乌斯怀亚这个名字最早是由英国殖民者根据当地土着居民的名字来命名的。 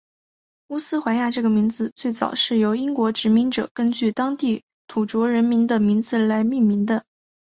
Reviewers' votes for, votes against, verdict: 3, 0, accepted